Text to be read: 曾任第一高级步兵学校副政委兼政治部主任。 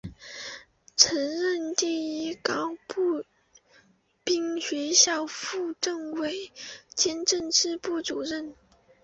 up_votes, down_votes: 2, 3